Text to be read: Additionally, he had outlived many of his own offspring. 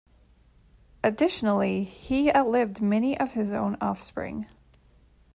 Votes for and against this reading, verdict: 0, 2, rejected